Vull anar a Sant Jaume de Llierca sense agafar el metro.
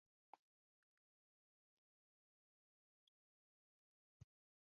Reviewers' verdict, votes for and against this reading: rejected, 0, 2